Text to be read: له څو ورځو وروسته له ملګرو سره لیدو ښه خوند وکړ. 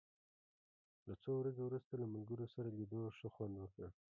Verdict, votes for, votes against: accepted, 2, 0